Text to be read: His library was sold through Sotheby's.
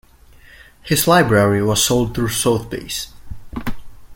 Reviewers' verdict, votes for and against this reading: rejected, 0, 2